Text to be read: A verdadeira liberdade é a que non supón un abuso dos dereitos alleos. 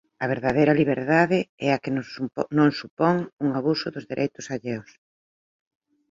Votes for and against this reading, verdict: 0, 2, rejected